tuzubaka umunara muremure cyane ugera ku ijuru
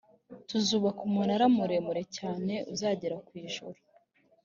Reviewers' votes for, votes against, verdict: 1, 2, rejected